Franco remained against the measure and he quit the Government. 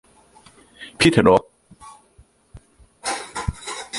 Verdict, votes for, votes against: rejected, 0, 2